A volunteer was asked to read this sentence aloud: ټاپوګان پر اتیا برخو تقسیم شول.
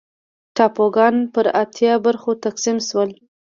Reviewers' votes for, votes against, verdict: 2, 0, accepted